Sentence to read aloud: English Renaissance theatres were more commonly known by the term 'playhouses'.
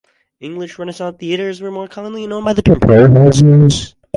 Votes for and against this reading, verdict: 0, 2, rejected